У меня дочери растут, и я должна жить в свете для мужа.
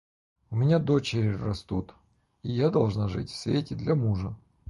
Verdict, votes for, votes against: accepted, 4, 0